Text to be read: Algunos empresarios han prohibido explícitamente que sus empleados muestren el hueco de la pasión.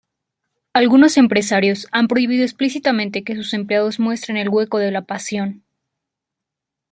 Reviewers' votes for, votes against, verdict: 2, 0, accepted